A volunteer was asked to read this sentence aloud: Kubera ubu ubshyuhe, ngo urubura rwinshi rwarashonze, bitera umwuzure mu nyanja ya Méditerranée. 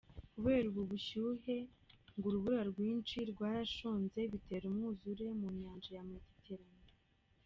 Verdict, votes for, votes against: rejected, 1, 2